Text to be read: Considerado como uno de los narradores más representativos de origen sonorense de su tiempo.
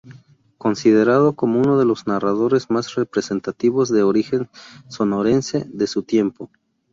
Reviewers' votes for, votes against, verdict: 0, 2, rejected